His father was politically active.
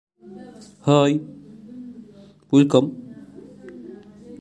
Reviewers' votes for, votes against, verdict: 0, 2, rejected